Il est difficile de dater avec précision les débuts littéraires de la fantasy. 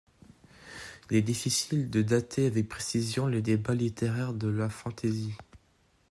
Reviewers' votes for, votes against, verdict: 2, 3, rejected